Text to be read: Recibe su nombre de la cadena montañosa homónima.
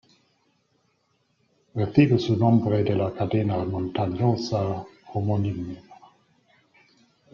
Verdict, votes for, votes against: rejected, 1, 2